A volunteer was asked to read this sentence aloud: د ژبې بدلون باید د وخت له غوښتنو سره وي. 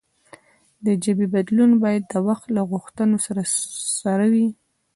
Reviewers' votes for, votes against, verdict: 2, 0, accepted